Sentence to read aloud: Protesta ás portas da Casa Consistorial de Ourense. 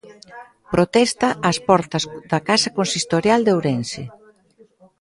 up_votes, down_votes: 2, 0